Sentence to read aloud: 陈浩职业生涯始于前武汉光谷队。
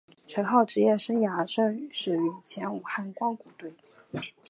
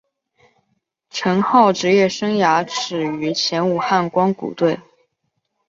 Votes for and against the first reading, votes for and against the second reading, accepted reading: 2, 3, 5, 0, second